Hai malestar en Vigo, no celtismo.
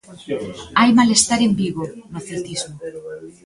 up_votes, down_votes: 1, 2